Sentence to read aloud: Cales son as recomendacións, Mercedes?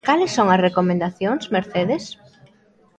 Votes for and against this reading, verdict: 0, 2, rejected